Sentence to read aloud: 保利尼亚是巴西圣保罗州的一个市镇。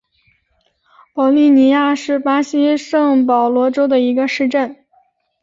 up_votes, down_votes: 2, 0